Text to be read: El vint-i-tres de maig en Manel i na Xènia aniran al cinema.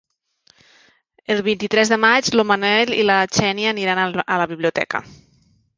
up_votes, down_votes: 1, 2